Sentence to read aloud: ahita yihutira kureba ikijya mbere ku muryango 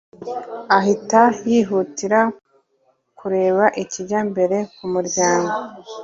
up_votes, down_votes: 2, 0